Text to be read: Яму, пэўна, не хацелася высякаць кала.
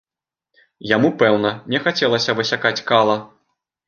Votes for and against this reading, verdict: 0, 2, rejected